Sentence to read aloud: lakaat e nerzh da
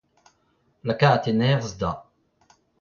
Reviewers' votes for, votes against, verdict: 2, 1, accepted